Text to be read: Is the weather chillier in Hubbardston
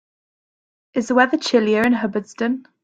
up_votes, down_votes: 2, 0